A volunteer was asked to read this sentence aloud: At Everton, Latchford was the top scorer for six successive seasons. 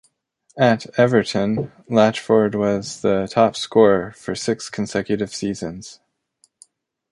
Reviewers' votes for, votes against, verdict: 0, 2, rejected